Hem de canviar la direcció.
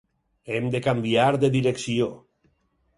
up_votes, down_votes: 2, 4